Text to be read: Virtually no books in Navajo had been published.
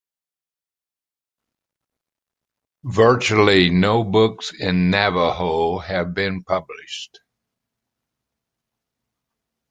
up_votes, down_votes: 2, 0